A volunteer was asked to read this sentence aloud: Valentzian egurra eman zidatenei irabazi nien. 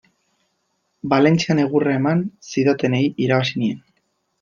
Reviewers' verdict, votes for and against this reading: accepted, 2, 0